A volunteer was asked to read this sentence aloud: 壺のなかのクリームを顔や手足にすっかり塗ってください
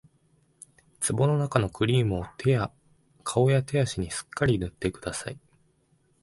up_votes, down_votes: 0, 2